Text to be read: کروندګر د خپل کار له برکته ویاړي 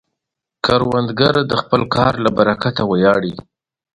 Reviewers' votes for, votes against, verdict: 2, 0, accepted